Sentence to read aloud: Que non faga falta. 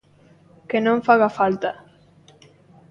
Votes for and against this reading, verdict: 2, 0, accepted